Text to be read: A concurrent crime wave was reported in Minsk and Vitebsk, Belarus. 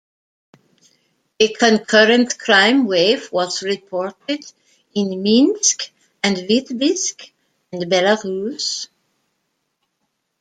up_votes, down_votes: 2, 0